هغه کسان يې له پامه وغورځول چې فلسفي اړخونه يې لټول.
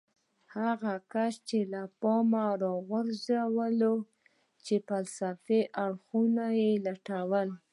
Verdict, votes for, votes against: rejected, 1, 2